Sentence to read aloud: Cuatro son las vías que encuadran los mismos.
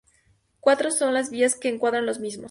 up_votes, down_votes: 0, 2